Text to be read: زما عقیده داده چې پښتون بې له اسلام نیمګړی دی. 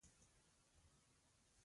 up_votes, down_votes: 1, 3